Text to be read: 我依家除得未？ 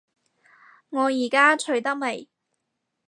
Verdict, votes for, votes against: rejected, 2, 2